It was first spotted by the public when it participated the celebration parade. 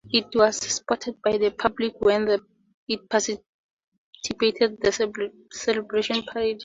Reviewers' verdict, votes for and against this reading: rejected, 0, 4